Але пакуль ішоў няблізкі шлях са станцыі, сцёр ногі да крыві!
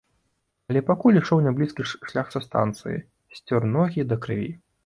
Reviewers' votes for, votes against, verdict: 2, 1, accepted